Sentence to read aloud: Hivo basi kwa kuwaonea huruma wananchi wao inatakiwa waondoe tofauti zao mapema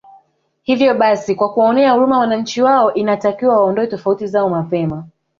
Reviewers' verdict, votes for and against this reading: rejected, 1, 2